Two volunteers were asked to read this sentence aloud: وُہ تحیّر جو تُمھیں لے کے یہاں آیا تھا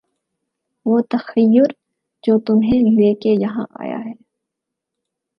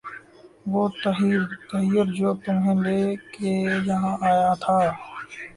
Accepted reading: second